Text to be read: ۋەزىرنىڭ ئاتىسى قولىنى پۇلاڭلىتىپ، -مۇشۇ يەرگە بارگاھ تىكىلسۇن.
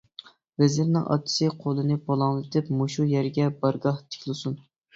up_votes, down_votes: 2, 0